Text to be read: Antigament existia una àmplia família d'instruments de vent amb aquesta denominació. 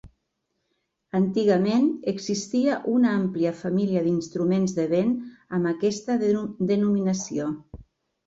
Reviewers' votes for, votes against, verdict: 1, 2, rejected